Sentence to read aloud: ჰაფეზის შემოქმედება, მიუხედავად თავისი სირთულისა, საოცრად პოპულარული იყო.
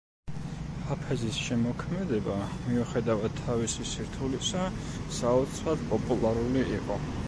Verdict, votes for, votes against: rejected, 1, 2